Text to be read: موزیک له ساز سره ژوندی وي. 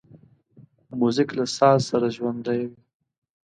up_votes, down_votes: 2, 0